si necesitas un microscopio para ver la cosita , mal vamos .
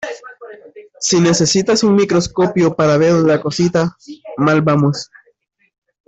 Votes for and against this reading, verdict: 2, 0, accepted